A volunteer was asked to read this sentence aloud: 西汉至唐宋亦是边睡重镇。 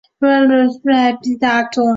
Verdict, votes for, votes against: rejected, 2, 3